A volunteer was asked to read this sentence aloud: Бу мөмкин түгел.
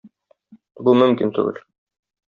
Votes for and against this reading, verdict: 1, 2, rejected